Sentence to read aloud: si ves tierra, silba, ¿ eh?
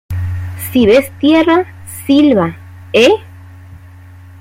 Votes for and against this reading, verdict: 2, 0, accepted